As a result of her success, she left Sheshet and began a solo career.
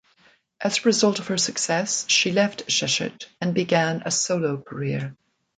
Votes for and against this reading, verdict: 2, 0, accepted